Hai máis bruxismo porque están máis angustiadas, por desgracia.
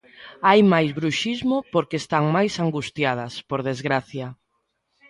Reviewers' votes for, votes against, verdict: 1, 2, rejected